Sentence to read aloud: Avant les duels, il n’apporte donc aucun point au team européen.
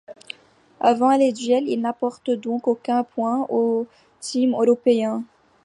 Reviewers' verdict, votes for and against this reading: rejected, 1, 2